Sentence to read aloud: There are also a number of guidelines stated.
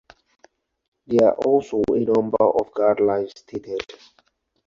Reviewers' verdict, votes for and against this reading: accepted, 4, 0